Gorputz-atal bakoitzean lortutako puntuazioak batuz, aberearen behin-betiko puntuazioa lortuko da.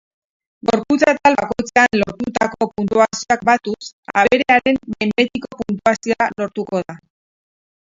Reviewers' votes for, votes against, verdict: 0, 4, rejected